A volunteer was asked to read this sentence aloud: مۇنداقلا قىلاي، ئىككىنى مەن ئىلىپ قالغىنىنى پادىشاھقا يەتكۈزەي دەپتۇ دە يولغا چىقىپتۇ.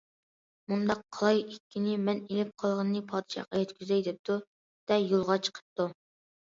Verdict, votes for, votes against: rejected, 0, 2